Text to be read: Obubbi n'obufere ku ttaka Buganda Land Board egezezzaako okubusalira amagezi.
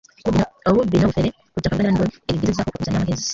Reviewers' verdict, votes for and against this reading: rejected, 1, 2